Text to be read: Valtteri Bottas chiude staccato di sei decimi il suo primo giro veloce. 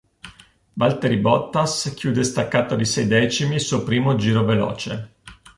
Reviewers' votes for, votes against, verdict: 2, 0, accepted